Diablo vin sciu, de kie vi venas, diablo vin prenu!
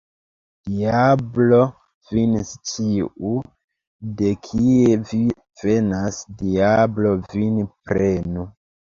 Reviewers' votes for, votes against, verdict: 2, 1, accepted